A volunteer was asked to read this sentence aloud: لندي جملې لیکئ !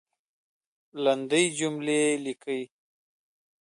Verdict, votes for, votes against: rejected, 1, 2